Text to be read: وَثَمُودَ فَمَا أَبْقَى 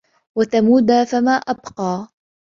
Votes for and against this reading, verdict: 1, 3, rejected